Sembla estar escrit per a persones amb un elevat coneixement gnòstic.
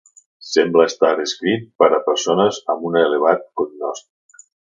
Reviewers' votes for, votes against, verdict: 0, 2, rejected